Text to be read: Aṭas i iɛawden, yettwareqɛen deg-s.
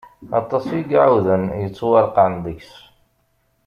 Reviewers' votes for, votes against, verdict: 1, 2, rejected